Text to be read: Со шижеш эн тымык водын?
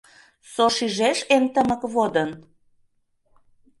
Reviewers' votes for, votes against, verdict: 2, 0, accepted